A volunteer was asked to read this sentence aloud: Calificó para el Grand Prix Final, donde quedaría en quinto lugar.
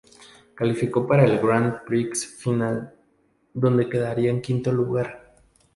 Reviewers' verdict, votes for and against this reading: accepted, 2, 0